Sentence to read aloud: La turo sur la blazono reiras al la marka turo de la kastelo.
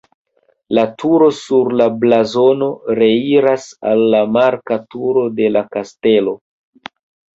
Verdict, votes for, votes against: accepted, 2, 0